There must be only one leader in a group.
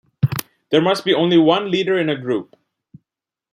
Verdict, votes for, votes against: accepted, 2, 0